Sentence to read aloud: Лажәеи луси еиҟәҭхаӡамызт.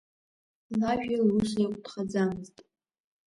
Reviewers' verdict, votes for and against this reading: accepted, 2, 1